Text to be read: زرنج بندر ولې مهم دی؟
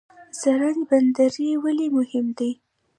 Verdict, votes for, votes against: accepted, 2, 1